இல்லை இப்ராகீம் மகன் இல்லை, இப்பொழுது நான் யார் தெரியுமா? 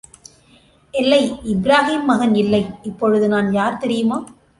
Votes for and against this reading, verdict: 2, 0, accepted